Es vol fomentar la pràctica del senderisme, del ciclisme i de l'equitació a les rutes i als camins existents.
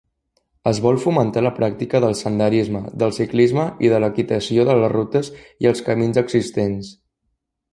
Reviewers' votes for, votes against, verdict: 2, 1, accepted